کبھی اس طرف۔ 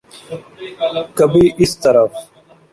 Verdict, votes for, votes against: rejected, 1, 2